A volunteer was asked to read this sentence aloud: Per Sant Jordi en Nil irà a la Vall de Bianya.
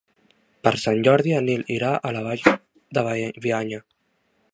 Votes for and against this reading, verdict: 0, 3, rejected